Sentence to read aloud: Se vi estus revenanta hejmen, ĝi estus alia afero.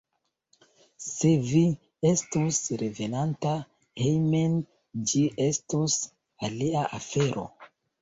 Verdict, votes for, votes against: rejected, 1, 2